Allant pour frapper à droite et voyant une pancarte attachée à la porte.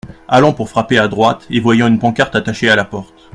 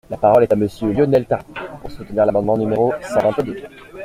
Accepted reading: first